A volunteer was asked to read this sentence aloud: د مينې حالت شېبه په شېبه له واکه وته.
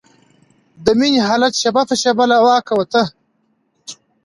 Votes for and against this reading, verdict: 2, 0, accepted